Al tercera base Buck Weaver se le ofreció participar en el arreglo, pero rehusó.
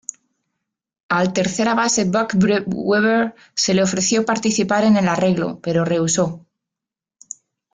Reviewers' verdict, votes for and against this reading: accepted, 4, 2